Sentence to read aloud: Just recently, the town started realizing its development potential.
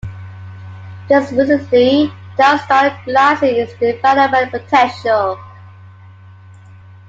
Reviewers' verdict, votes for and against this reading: rejected, 0, 2